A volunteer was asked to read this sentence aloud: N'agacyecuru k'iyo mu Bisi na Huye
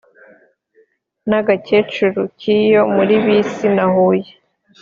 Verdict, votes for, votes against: accepted, 2, 0